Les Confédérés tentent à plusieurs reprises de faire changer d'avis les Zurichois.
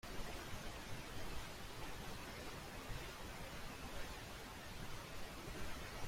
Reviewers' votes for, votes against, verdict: 0, 2, rejected